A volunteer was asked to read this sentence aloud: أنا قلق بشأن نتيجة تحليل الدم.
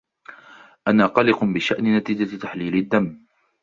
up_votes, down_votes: 2, 0